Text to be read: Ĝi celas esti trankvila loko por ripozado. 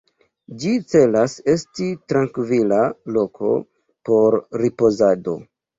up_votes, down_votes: 1, 2